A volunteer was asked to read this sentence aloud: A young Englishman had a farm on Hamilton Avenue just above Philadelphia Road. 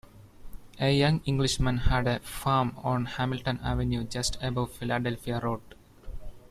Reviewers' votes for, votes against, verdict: 2, 0, accepted